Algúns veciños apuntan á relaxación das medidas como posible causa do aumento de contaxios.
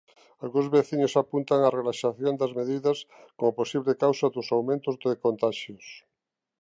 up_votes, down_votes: 0, 2